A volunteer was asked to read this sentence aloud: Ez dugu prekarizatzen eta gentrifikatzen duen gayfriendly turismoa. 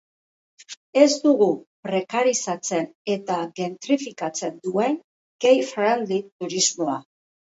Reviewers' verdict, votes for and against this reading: accepted, 4, 0